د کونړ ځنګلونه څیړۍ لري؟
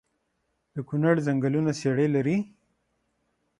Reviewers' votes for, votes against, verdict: 6, 0, accepted